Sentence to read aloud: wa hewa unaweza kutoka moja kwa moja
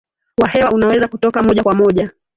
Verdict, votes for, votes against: rejected, 0, 2